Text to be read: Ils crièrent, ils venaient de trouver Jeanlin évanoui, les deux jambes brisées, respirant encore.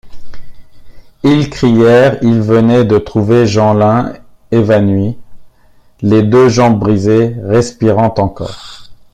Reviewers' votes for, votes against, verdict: 2, 1, accepted